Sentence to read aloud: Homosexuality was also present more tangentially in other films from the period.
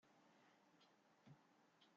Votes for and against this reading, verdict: 0, 2, rejected